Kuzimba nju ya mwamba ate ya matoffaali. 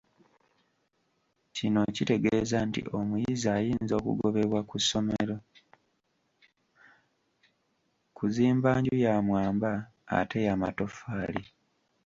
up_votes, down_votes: 1, 2